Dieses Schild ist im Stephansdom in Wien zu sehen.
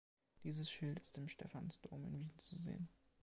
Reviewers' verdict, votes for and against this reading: accepted, 2, 1